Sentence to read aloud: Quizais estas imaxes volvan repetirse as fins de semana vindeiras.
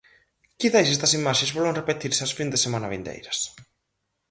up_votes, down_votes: 2, 4